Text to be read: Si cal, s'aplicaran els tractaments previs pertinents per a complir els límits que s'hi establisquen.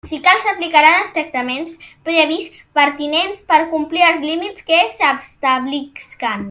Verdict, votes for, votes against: rejected, 0, 2